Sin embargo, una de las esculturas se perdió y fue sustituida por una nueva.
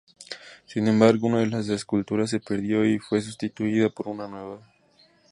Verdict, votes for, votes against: accepted, 2, 0